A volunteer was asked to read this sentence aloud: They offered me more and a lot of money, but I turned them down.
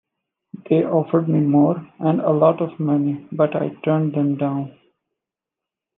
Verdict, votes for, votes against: accepted, 2, 0